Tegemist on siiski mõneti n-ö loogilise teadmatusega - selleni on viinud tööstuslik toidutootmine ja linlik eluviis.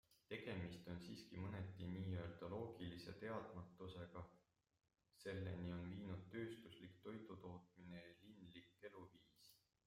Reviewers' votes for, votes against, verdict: 0, 2, rejected